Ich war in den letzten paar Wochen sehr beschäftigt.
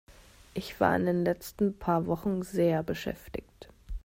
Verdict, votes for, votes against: accepted, 2, 0